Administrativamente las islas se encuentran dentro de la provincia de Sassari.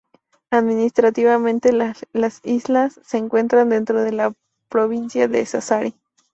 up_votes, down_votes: 2, 2